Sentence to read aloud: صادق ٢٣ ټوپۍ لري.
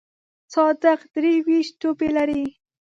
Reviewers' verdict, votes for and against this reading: rejected, 0, 2